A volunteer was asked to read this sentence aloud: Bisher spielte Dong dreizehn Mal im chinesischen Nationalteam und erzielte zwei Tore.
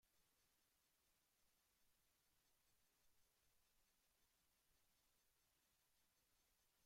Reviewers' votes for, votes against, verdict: 0, 3, rejected